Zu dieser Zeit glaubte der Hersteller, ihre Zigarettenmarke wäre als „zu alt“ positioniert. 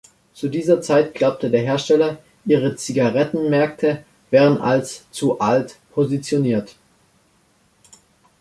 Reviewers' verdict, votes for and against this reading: rejected, 0, 2